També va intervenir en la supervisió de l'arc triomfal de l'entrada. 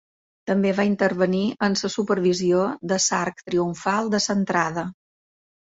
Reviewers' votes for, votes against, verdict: 2, 0, accepted